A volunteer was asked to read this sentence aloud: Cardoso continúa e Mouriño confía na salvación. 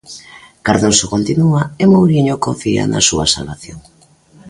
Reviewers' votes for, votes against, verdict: 0, 2, rejected